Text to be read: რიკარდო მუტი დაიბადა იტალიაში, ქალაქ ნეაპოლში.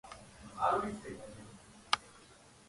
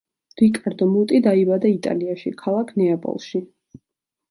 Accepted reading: second